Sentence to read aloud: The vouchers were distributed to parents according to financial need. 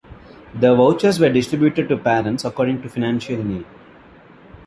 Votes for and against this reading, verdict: 0, 2, rejected